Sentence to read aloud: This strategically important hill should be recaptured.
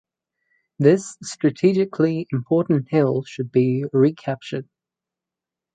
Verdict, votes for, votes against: accepted, 4, 0